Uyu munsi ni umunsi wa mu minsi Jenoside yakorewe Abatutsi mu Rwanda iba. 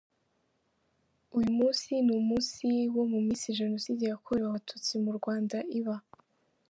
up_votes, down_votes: 4, 2